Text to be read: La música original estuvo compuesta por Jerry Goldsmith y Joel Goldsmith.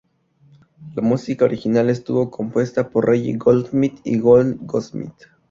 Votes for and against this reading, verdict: 0, 2, rejected